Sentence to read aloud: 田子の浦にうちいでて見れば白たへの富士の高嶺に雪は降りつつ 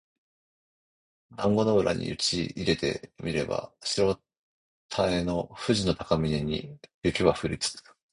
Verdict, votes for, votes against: rejected, 1, 2